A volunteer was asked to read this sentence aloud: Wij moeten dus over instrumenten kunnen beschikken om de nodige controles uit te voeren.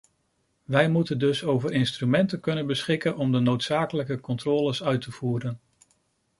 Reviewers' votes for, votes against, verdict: 0, 2, rejected